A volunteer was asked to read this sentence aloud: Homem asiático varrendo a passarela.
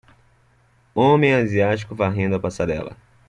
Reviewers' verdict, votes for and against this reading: accepted, 2, 0